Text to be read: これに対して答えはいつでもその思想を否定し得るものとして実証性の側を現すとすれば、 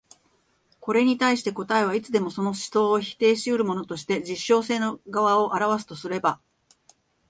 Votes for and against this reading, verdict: 3, 0, accepted